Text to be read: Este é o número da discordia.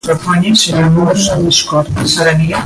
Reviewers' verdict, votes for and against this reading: rejected, 0, 2